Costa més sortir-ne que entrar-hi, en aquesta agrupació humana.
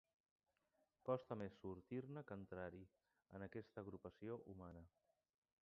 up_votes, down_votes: 1, 2